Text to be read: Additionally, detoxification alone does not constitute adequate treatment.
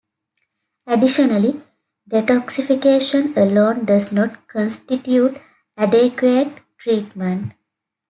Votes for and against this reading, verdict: 2, 0, accepted